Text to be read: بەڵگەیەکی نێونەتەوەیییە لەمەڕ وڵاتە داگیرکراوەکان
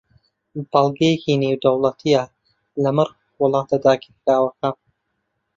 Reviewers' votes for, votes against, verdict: 2, 0, accepted